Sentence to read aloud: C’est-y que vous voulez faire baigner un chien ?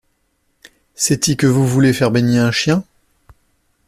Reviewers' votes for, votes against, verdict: 2, 0, accepted